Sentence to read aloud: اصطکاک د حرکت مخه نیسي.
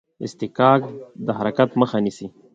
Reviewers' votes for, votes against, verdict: 2, 0, accepted